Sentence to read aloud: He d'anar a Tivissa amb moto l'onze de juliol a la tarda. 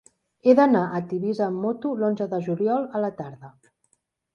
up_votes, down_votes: 2, 0